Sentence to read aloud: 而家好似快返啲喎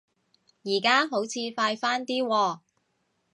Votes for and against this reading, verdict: 2, 0, accepted